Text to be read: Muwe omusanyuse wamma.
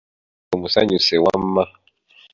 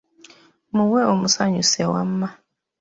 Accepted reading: second